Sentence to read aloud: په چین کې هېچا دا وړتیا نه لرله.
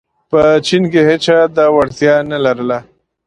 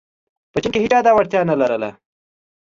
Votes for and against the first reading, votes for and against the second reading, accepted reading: 2, 0, 0, 2, first